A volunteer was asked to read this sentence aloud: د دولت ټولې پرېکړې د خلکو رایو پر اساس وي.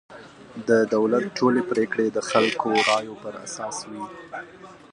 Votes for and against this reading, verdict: 2, 0, accepted